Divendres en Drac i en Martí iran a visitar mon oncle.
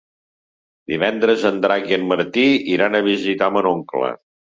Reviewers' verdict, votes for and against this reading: rejected, 1, 2